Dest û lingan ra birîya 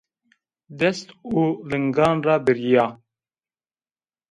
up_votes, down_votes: 2, 0